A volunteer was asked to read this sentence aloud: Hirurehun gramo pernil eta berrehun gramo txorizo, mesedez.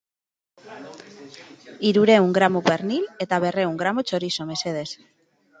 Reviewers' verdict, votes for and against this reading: rejected, 0, 2